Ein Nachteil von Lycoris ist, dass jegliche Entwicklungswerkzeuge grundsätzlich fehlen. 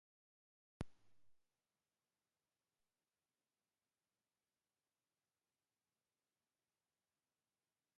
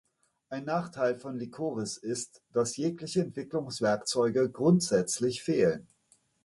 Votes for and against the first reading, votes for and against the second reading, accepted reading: 0, 2, 2, 0, second